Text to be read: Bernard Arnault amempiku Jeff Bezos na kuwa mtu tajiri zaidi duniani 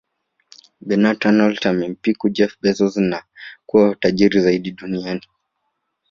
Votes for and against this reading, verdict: 2, 0, accepted